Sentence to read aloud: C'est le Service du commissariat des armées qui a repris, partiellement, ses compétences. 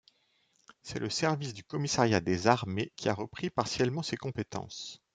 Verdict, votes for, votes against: accepted, 2, 0